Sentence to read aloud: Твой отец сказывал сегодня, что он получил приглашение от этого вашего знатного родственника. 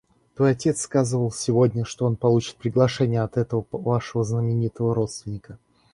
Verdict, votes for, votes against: rejected, 0, 2